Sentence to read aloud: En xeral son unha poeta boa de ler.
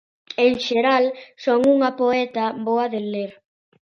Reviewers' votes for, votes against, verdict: 2, 0, accepted